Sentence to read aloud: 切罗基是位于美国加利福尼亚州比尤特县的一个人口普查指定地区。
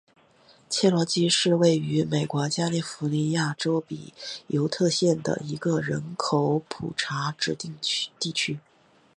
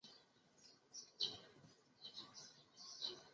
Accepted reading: first